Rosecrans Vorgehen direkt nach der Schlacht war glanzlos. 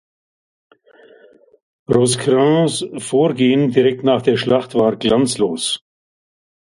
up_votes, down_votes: 2, 0